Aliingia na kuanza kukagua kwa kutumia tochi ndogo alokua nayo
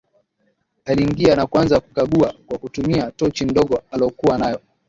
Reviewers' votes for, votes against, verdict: 2, 1, accepted